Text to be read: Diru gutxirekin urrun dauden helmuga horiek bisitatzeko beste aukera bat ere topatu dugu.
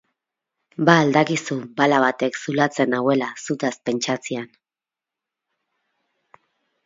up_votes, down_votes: 2, 4